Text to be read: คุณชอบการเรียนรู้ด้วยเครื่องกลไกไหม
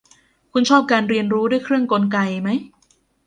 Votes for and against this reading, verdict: 1, 2, rejected